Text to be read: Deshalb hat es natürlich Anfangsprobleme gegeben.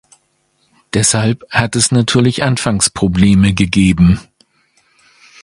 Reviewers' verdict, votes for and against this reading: accepted, 2, 0